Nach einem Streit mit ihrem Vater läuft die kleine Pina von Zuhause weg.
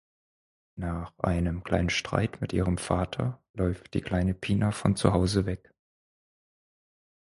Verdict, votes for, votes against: rejected, 0, 4